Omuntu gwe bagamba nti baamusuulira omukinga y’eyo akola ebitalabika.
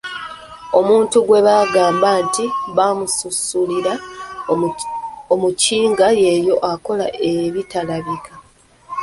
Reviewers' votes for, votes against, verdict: 0, 2, rejected